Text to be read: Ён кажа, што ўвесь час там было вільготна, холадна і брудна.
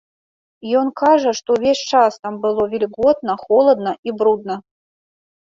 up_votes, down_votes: 0, 2